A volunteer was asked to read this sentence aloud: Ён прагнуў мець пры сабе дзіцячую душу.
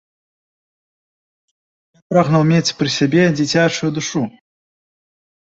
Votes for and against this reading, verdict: 0, 2, rejected